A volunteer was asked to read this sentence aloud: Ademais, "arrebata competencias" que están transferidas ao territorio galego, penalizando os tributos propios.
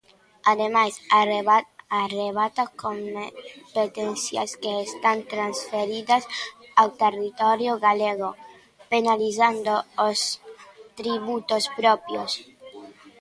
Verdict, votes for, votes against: rejected, 0, 2